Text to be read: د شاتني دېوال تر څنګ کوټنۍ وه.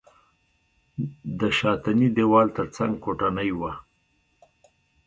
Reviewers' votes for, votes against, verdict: 2, 0, accepted